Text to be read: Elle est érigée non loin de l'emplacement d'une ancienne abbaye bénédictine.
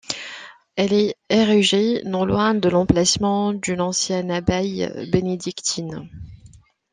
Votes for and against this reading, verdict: 1, 2, rejected